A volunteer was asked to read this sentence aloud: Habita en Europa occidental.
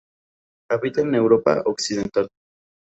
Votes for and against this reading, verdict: 2, 0, accepted